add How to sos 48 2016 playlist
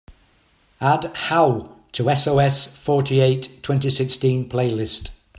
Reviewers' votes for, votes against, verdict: 0, 2, rejected